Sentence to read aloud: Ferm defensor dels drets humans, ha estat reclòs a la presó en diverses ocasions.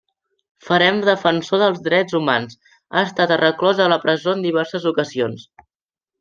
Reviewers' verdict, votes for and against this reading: rejected, 1, 2